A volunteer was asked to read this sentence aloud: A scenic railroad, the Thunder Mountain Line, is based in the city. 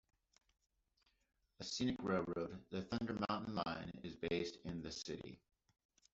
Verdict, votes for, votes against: rejected, 0, 2